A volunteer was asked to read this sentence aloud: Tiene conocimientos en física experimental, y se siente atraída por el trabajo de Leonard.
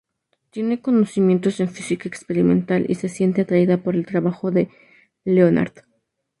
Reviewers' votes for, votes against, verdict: 4, 0, accepted